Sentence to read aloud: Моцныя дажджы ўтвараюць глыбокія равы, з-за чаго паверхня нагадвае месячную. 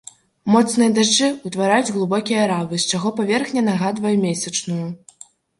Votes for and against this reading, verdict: 0, 2, rejected